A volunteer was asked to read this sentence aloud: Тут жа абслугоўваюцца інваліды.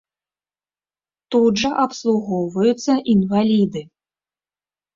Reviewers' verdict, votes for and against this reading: accepted, 2, 1